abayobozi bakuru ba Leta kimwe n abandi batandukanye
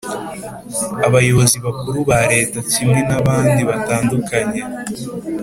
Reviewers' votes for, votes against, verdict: 3, 0, accepted